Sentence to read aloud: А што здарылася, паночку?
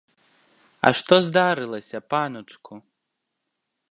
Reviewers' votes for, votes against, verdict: 1, 2, rejected